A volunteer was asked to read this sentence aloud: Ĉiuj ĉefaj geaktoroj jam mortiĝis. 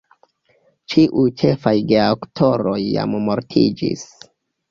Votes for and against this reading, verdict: 2, 1, accepted